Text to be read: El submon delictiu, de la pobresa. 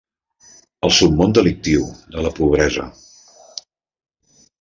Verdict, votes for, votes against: accepted, 5, 0